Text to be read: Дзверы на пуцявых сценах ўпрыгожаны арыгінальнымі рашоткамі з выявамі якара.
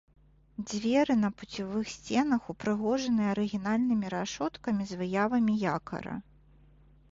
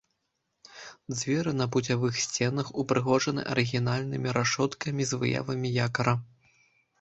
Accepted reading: first